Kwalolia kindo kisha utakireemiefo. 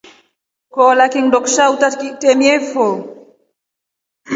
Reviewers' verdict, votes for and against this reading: accepted, 2, 1